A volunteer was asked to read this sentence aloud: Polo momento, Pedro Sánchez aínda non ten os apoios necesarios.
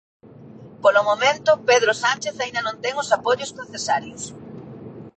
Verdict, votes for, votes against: rejected, 1, 2